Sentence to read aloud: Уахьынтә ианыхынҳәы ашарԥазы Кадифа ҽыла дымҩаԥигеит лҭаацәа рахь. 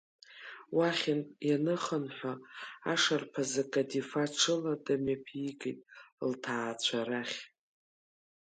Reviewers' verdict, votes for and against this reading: rejected, 0, 2